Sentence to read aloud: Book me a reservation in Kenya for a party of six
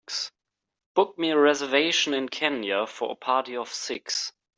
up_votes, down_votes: 2, 0